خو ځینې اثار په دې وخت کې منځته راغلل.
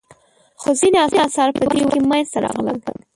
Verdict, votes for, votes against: rejected, 0, 2